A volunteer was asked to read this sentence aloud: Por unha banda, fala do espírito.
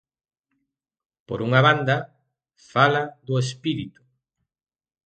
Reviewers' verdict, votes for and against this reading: rejected, 0, 2